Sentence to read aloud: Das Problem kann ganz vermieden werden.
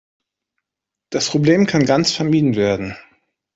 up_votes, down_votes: 2, 0